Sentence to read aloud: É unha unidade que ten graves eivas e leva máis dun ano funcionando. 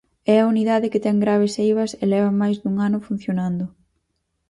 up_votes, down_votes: 0, 4